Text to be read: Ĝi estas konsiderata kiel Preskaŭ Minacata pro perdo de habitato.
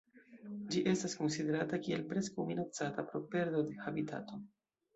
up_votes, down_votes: 2, 0